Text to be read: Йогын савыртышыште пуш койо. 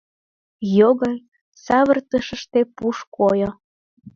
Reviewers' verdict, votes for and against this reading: rejected, 1, 2